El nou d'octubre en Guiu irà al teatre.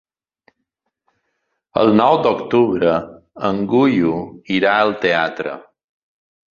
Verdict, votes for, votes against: rejected, 1, 2